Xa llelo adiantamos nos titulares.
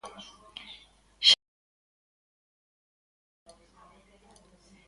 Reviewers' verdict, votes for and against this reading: rejected, 0, 2